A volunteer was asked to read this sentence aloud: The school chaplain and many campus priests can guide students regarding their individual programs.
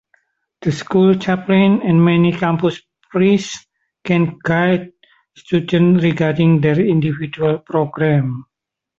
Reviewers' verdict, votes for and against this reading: rejected, 0, 2